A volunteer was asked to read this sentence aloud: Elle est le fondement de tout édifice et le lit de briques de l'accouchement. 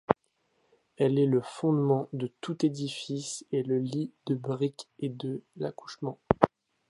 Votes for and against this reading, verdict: 1, 2, rejected